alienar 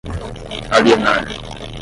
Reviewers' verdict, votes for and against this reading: rejected, 5, 10